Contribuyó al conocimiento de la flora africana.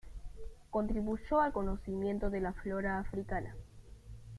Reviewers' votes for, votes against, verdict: 1, 2, rejected